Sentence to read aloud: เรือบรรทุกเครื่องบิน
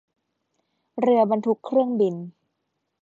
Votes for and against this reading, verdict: 2, 0, accepted